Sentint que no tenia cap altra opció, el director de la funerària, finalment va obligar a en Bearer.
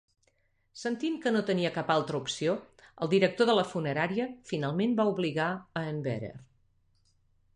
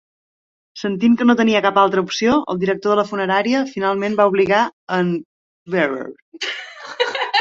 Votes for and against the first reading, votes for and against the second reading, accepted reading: 2, 0, 0, 2, first